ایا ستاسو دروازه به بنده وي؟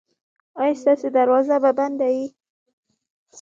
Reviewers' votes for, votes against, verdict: 1, 2, rejected